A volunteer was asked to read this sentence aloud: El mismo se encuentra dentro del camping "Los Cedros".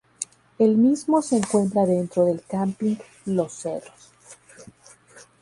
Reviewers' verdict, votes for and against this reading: rejected, 0, 2